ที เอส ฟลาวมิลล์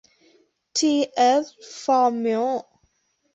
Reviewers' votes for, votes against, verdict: 0, 2, rejected